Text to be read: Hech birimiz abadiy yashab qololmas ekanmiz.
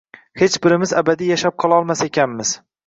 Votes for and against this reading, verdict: 2, 0, accepted